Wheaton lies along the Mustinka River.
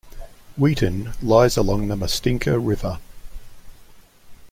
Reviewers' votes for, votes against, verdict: 2, 0, accepted